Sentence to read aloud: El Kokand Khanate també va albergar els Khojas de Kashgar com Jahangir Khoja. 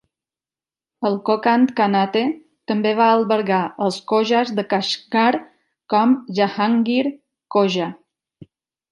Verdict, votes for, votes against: accepted, 2, 0